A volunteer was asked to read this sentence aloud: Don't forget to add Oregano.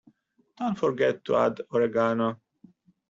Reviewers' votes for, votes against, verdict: 2, 0, accepted